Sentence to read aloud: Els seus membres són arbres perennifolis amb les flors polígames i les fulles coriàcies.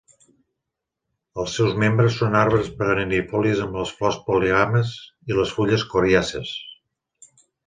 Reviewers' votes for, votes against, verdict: 0, 2, rejected